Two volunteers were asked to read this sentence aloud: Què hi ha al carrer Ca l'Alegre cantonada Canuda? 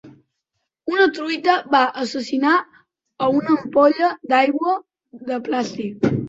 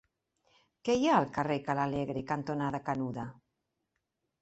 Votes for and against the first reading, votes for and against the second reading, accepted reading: 0, 3, 4, 0, second